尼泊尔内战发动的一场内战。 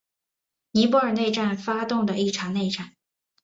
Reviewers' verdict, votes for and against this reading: accepted, 2, 0